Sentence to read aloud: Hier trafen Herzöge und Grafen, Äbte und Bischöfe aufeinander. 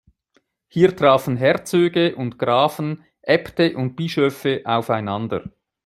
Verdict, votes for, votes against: accepted, 2, 0